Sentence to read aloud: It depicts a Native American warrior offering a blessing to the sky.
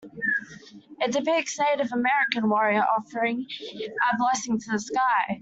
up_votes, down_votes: 2, 1